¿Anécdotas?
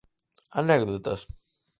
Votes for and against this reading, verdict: 4, 0, accepted